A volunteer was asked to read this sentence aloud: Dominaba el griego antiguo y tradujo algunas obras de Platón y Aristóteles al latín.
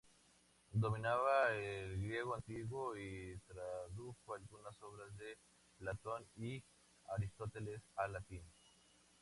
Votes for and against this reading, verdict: 0, 2, rejected